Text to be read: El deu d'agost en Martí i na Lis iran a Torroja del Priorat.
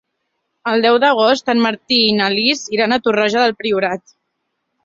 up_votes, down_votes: 3, 0